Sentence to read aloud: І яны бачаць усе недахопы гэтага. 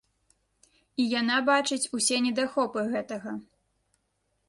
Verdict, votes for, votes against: rejected, 1, 2